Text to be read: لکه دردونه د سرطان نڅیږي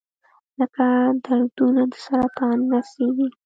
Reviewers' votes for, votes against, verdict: 2, 0, accepted